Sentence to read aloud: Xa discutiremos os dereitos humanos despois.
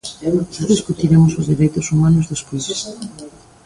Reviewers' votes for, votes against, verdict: 0, 2, rejected